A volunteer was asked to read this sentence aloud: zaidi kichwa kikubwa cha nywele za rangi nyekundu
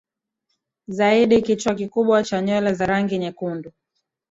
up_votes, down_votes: 0, 2